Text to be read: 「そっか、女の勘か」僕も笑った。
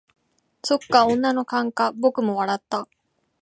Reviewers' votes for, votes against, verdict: 2, 0, accepted